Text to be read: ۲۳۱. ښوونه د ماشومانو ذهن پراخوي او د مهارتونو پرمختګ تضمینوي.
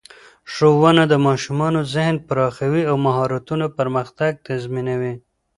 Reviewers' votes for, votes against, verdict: 0, 2, rejected